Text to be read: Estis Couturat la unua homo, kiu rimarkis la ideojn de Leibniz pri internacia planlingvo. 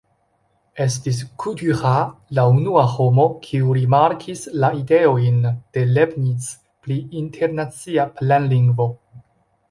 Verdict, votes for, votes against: accepted, 2, 0